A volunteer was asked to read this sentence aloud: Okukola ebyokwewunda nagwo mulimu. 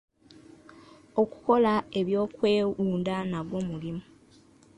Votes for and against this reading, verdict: 2, 1, accepted